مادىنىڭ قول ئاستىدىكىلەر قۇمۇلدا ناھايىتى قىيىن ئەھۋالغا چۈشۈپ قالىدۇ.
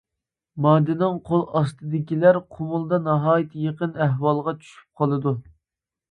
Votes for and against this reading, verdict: 0, 2, rejected